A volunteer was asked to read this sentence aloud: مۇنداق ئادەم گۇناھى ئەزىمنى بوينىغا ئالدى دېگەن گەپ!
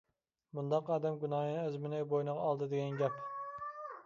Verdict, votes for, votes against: rejected, 0, 2